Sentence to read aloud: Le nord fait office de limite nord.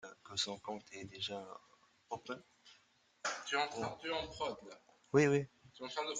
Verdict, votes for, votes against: rejected, 0, 2